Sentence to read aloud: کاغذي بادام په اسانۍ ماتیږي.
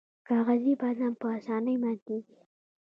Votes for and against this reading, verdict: 2, 1, accepted